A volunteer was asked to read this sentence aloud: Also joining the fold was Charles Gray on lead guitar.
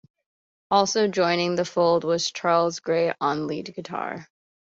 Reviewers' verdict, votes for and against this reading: accepted, 2, 0